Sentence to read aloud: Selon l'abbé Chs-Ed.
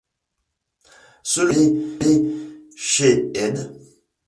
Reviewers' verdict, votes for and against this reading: rejected, 1, 2